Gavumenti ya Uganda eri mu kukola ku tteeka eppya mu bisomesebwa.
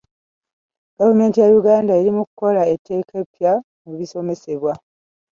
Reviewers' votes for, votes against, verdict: 1, 2, rejected